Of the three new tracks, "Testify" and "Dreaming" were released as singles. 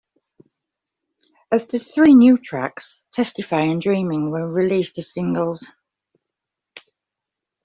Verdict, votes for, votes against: accepted, 3, 0